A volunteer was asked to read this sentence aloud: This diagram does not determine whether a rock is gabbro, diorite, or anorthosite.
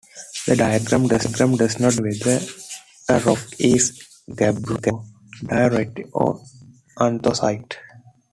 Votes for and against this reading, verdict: 0, 2, rejected